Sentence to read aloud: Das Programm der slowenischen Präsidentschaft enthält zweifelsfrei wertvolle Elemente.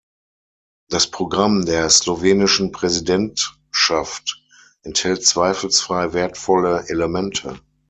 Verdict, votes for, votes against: accepted, 6, 0